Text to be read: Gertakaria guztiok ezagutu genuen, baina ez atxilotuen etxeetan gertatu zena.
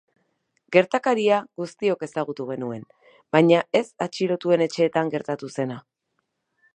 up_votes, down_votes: 0, 2